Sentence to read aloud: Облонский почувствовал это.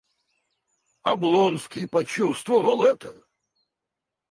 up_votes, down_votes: 0, 4